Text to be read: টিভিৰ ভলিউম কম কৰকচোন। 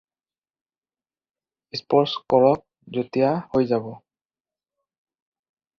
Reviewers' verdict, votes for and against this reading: rejected, 0, 4